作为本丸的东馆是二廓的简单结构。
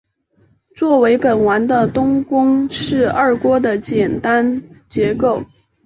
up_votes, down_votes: 3, 0